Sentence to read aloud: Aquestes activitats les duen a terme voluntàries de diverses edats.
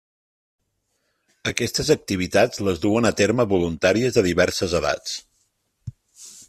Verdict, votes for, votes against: accepted, 3, 0